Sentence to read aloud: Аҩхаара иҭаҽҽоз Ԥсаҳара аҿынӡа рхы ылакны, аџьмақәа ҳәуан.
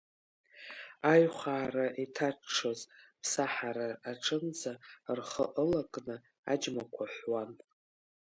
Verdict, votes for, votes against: accepted, 2, 1